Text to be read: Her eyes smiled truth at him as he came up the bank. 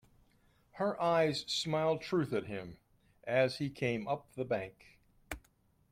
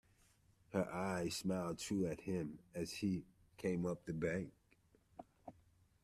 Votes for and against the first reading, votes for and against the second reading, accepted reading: 2, 0, 1, 2, first